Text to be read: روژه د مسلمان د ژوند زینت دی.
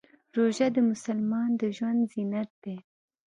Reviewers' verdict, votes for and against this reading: accepted, 2, 0